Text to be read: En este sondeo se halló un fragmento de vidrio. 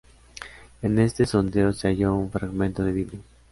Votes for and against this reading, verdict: 2, 0, accepted